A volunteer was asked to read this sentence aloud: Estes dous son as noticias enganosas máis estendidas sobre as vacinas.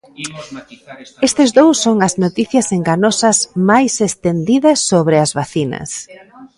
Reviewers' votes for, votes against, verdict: 0, 2, rejected